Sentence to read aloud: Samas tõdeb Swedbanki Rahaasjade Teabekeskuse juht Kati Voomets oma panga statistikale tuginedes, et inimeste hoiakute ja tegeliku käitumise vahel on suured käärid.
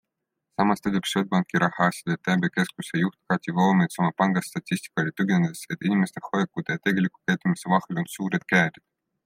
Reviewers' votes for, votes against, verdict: 2, 0, accepted